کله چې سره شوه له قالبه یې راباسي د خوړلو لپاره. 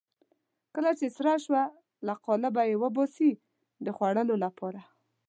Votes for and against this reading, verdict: 1, 2, rejected